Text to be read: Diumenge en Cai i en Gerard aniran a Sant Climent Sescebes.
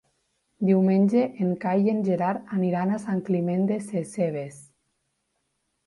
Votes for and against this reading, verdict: 2, 1, accepted